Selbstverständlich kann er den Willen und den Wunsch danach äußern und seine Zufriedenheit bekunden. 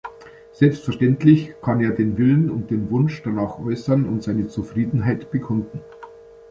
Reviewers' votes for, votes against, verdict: 2, 0, accepted